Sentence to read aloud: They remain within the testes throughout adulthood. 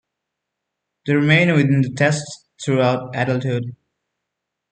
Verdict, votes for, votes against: accepted, 2, 0